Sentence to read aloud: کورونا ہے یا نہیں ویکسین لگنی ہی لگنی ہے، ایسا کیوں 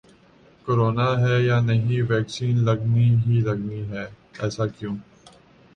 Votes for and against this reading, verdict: 2, 0, accepted